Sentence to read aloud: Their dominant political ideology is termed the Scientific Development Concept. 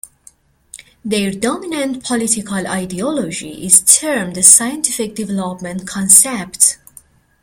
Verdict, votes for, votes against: accepted, 2, 0